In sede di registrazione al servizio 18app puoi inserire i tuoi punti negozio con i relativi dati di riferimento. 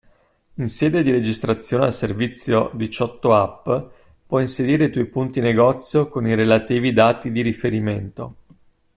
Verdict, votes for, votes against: rejected, 0, 2